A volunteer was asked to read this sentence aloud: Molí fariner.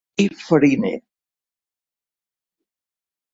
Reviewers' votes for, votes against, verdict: 1, 4, rejected